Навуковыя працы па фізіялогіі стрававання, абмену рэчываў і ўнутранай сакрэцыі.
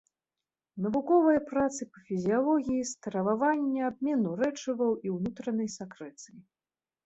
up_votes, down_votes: 2, 0